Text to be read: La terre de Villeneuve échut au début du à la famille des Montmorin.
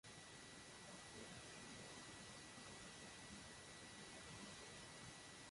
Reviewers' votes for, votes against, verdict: 0, 2, rejected